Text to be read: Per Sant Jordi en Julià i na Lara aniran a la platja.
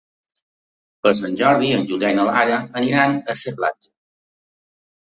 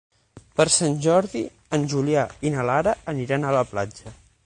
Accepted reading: second